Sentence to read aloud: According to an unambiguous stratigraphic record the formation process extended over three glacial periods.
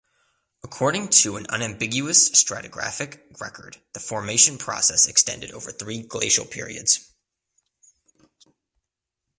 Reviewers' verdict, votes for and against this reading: accepted, 2, 0